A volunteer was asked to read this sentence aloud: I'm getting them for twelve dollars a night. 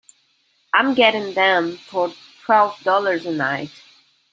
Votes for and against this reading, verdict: 2, 1, accepted